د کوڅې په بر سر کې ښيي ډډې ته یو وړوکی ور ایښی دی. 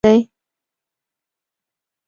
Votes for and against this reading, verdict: 1, 2, rejected